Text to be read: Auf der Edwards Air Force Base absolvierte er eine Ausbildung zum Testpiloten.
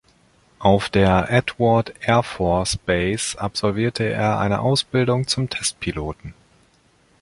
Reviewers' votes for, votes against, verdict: 0, 2, rejected